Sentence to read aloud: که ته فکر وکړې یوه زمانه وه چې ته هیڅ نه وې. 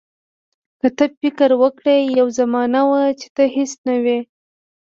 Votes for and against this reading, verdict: 2, 0, accepted